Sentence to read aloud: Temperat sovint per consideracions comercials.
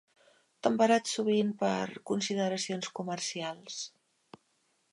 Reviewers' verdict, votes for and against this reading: rejected, 1, 2